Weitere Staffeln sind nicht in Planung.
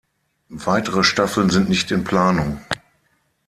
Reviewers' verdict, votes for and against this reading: accepted, 6, 0